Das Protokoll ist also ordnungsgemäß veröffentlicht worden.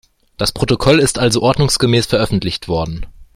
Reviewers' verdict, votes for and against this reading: accepted, 2, 0